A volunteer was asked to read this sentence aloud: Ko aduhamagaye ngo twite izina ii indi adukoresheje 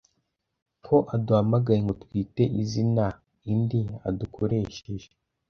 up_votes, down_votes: 2, 0